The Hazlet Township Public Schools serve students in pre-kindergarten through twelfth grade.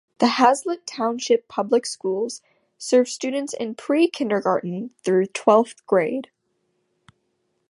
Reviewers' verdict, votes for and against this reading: accepted, 2, 0